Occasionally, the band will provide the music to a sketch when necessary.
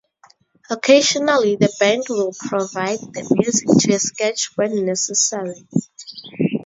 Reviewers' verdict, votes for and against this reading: rejected, 0, 2